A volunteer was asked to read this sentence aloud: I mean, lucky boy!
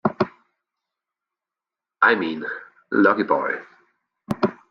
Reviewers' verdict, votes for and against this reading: accepted, 2, 1